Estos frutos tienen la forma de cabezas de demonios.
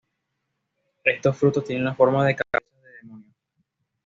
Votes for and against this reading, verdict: 0, 2, rejected